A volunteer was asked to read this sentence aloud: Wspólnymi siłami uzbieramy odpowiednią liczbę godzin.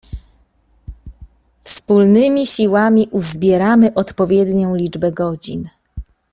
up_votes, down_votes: 2, 0